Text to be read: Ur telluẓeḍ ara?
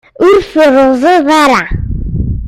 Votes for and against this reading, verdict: 0, 2, rejected